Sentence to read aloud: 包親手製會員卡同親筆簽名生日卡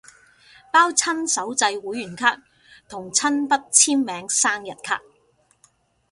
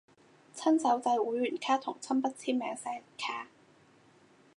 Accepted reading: first